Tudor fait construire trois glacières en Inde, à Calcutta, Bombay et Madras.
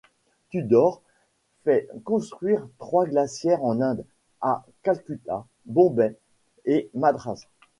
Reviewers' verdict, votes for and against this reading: rejected, 1, 2